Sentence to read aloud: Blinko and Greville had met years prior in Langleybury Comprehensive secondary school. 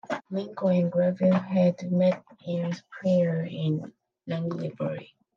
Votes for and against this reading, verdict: 0, 3, rejected